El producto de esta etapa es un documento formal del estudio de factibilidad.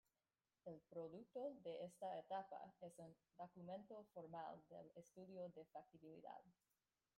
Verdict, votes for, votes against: rejected, 1, 2